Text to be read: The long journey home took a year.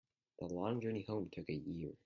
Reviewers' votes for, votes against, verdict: 0, 2, rejected